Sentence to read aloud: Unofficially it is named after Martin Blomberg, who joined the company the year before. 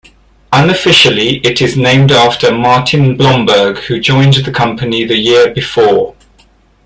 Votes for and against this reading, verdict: 2, 1, accepted